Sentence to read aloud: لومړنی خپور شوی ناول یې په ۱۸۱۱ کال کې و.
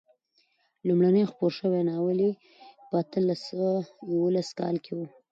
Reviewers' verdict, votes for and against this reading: rejected, 0, 2